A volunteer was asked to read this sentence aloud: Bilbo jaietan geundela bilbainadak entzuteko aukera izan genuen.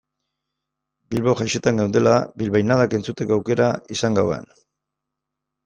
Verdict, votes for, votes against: rejected, 0, 2